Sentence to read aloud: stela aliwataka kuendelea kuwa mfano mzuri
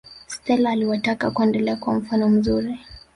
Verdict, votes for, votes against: rejected, 3, 4